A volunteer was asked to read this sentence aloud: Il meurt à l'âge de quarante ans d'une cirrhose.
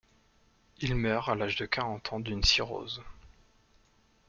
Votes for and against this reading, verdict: 4, 0, accepted